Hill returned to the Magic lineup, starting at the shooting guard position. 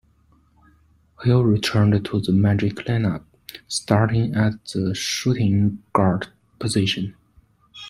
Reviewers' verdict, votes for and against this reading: rejected, 1, 2